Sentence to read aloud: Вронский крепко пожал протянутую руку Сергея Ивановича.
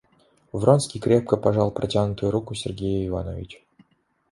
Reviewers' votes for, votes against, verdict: 0, 2, rejected